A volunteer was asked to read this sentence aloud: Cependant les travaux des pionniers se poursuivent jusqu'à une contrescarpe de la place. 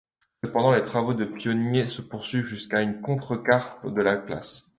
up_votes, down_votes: 2, 0